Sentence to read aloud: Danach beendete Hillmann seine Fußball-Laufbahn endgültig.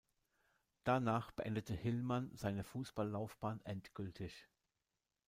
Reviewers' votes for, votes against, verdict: 0, 2, rejected